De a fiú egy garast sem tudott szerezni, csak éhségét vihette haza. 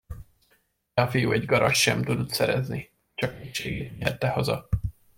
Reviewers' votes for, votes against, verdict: 0, 2, rejected